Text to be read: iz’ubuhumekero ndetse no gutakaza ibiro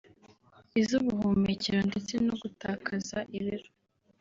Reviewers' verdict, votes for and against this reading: accepted, 3, 0